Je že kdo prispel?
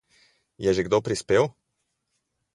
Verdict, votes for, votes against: accepted, 4, 0